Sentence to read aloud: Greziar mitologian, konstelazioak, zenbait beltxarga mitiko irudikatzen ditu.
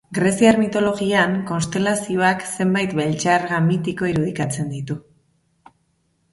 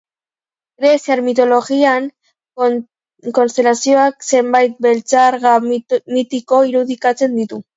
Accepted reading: first